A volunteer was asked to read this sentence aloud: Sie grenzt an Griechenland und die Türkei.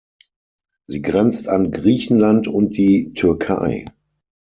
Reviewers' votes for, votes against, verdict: 6, 0, accepted